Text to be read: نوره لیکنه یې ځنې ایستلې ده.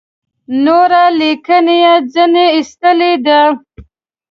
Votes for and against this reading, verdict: 2, 0, accepted